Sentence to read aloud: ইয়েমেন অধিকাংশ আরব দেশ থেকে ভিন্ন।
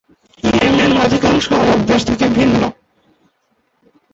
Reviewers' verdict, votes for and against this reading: rejected, 4, 5